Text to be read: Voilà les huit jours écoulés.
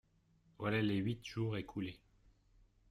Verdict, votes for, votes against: accepted, 2, 0